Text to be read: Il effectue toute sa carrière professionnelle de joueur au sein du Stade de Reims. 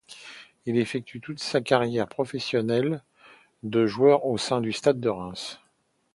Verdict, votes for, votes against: accepted, 2, 0